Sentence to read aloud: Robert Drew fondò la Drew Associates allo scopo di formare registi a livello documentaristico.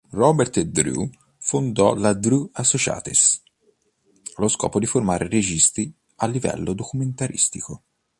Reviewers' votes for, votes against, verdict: 3, 0, accepted